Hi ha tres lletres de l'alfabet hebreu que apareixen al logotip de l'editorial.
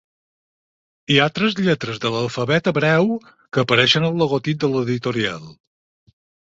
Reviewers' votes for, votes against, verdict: 6, 0, accepted